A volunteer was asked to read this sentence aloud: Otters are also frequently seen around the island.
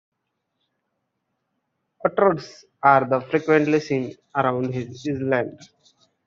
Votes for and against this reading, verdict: 1, 2, rejected